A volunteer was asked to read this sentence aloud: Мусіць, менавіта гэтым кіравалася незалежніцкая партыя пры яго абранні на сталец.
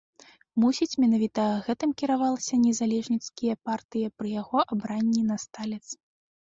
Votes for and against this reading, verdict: 1, 2, rejected